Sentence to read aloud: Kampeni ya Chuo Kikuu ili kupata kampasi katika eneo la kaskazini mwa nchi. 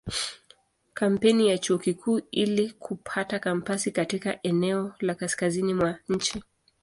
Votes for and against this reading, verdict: 2, 0, accepted